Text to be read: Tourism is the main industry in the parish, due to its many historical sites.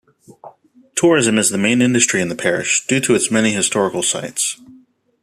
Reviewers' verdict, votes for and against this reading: accepted, 2, 0